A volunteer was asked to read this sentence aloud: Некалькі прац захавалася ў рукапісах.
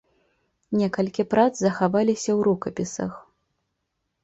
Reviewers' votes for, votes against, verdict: 1, 2, rejected